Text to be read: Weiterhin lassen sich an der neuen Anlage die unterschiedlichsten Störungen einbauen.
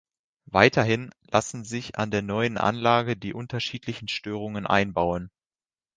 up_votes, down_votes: 1, 2